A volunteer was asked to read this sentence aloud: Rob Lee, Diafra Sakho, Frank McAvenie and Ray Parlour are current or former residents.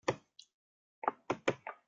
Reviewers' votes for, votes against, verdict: 0, 2, rejected